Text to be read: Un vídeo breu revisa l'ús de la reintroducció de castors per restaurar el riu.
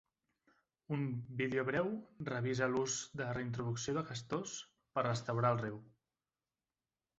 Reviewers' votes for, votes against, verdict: 2, 4, rejected